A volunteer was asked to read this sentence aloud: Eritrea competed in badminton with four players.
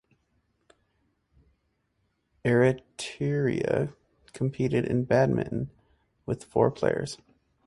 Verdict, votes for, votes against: rejected, 2, 2